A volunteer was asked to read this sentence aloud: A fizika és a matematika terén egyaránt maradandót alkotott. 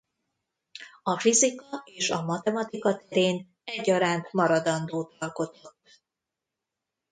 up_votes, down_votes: 0, 2